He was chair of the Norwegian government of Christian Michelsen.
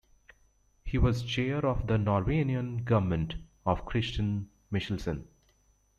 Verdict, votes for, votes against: rejected, 0, 2